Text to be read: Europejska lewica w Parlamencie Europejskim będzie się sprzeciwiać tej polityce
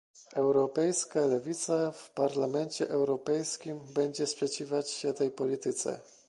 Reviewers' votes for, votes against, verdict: 0, 2, rejected